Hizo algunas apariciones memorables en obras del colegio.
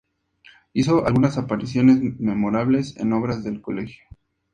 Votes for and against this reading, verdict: 2, 0, accepted